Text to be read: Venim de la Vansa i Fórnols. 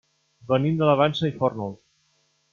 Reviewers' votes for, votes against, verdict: 2, 0, accepted